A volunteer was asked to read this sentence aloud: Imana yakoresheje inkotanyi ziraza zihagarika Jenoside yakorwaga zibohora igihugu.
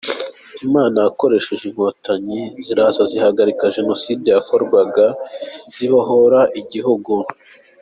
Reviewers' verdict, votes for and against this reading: accepted, 2, 0